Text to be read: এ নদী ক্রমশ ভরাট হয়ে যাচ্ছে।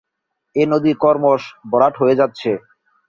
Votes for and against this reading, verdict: 3, 10, rejected